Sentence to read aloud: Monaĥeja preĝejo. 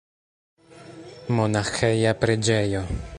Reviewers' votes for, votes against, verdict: 2, 0, accepted